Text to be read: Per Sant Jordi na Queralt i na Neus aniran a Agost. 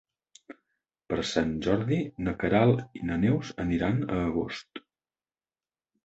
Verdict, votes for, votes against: accepted, 2, 0